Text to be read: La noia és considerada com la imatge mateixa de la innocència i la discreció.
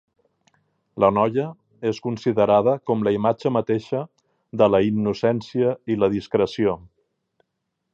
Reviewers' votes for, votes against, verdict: 4, 0, accepted